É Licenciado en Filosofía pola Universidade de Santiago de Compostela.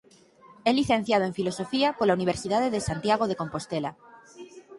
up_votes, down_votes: 6, 3